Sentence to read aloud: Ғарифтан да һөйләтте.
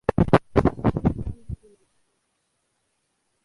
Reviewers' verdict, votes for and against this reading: rejected, 0, 2